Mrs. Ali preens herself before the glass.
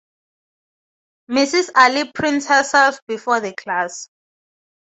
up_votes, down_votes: 0, 2